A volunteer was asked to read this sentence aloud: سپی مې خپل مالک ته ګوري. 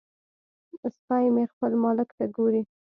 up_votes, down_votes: 2, 0